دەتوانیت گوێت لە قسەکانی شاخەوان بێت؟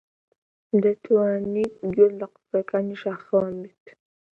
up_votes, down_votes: 2, 0